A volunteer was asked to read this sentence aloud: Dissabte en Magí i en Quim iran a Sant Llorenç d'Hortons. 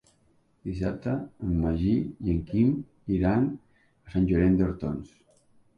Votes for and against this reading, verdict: 2, 0, accepted